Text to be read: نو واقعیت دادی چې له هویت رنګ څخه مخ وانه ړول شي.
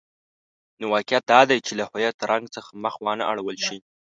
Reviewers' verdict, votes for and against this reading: accepted, 2, 0